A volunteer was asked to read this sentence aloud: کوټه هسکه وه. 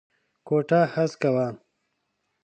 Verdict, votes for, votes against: accepted, 2, 0